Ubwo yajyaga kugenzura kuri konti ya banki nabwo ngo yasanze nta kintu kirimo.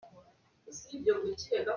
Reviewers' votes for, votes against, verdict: 0, 2, rejected